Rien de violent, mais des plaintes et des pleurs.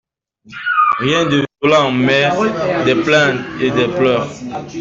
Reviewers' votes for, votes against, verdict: 1, 2, rejected